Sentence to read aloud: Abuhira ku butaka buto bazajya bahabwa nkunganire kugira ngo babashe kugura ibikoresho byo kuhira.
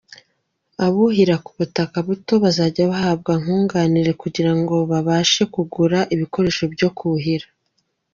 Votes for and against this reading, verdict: 2, 0, accepted